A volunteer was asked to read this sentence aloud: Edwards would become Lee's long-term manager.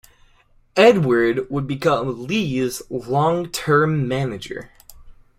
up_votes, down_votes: 2, 0